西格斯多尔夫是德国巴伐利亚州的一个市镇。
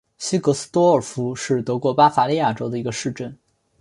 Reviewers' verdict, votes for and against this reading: accepted, 2, 0